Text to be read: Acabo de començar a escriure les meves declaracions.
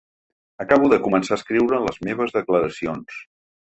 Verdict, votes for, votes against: accepted, 3, 1